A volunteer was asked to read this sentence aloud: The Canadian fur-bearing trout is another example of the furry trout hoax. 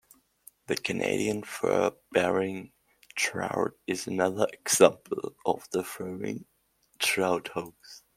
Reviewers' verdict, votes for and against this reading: accepted, 2, 0